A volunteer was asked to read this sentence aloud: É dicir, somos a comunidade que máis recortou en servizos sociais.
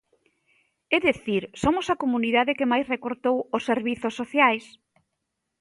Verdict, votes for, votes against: rejected, 0, 2